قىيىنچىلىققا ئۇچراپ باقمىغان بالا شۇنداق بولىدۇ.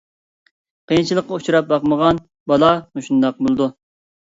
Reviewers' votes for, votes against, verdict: 0, 2, rejected